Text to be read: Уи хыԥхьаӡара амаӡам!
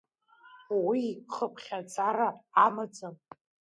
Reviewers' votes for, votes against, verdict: 0, 2, rejected